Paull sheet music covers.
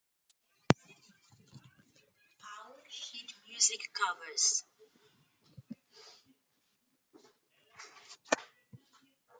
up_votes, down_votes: 0, 2